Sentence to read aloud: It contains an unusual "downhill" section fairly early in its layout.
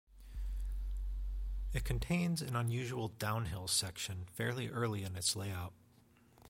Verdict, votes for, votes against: accepted, 2, 0